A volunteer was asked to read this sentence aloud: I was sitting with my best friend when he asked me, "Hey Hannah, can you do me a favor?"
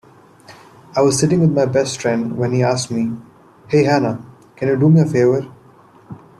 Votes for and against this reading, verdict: 2, 0, accepted